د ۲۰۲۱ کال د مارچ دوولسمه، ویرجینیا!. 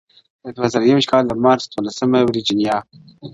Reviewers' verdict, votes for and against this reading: rejected, 0, 2